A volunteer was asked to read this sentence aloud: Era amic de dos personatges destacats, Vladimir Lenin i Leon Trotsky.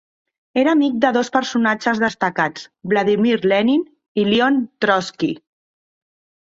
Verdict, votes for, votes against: rejected, 1, 2